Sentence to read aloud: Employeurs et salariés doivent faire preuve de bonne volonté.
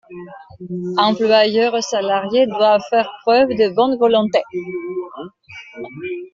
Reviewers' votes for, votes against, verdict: 1, 2, rejected